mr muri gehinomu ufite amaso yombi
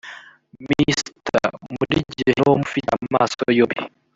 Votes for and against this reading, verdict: 0, 2, rejected